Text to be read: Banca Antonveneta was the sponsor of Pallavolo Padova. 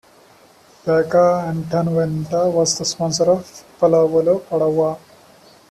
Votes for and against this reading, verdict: 3, 1, accepted